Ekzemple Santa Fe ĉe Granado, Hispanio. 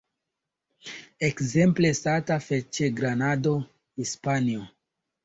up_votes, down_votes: 1, 2